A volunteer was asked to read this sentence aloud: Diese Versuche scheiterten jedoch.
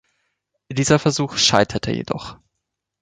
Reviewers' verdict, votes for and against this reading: rejected, 1, 2